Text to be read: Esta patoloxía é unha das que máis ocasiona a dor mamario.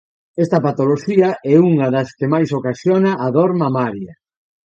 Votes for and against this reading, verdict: 1, 2, rejected